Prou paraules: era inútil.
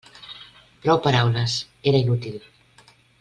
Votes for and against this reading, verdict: 3, 0, accepted